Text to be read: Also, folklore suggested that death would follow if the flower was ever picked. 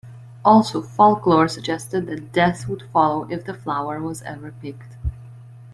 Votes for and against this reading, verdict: 2, 0, accepted